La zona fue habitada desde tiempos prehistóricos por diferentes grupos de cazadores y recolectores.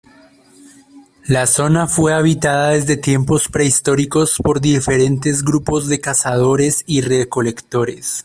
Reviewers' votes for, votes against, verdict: 2, 0, accepted